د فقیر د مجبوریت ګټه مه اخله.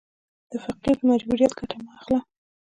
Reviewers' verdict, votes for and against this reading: accepted, 2, 0